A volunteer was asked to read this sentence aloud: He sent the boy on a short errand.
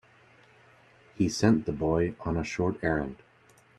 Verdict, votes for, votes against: accepted, 2, 0